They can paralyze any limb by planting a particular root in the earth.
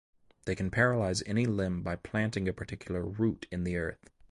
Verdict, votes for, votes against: accepted, 2, 0